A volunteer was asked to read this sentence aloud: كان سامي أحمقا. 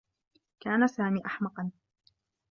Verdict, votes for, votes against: accepted, 2, 0